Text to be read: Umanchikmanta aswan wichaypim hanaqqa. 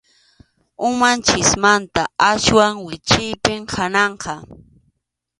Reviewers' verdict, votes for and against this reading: accepted, 2, 1